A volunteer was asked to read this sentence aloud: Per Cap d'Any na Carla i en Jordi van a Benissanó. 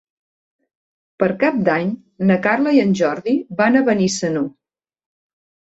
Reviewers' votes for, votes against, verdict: 3, 0, accepted